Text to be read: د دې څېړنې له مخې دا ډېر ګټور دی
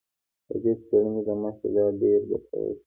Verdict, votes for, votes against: accepted, 2, 0